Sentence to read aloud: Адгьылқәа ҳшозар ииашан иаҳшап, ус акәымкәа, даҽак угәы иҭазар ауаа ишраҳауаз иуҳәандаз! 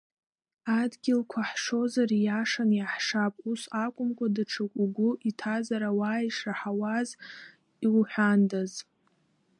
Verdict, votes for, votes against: rejected, 0, 2